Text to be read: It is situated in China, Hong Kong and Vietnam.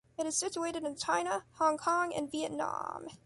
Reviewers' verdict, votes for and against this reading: accepted, 2, 0